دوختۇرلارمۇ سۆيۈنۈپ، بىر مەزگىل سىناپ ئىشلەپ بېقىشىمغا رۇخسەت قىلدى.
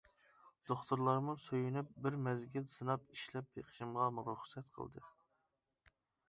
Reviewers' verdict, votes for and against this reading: rejected, 0, 2